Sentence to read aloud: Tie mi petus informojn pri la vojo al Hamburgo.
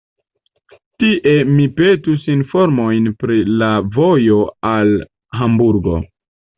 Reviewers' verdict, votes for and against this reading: accepted, 2, 0